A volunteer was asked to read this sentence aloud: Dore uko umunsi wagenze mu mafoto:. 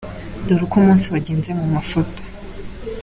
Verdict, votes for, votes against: accepted, 2, 0